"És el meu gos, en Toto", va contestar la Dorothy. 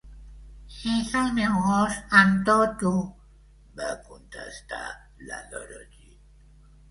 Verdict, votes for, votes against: rejected, 0, 2